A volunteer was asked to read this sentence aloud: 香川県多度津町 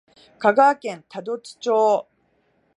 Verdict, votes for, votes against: accepted, 2, 0